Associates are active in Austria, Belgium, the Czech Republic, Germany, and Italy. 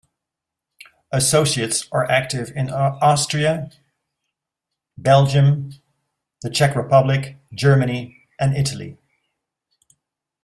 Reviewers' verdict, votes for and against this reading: accepted, 2, 0